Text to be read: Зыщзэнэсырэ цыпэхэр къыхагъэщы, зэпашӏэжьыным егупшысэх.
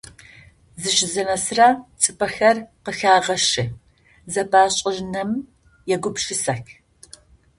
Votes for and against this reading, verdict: 0, 2, rejected